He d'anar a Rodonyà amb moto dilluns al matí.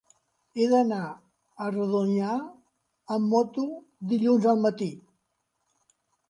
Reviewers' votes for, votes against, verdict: 2, 0, accepted